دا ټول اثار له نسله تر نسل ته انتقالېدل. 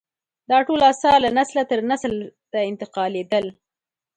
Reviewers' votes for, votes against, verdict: 2, 1, accepted